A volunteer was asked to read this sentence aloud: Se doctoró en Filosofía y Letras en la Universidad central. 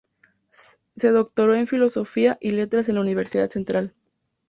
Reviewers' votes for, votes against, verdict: 2, 0, accepted